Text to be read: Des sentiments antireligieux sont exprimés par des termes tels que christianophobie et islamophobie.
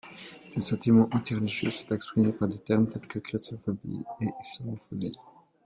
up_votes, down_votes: 0, 2